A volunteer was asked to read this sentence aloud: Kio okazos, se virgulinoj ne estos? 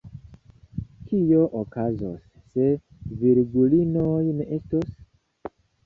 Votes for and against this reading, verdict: 2, 0, accepted